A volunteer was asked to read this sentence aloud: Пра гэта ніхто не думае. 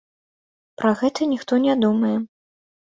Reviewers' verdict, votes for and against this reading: accepted, 2, 0